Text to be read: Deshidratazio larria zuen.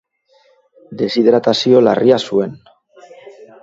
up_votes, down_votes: 3, 0